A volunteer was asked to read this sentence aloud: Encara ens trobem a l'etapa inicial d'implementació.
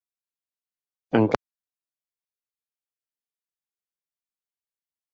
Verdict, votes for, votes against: rejected, 0, 2